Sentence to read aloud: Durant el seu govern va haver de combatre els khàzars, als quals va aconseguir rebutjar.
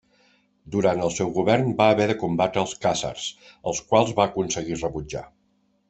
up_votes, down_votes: 2, 0